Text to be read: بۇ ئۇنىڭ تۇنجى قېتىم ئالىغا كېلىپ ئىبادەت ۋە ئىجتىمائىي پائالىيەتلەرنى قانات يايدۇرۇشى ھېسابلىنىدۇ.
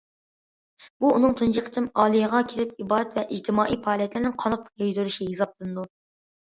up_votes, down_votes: 0, 2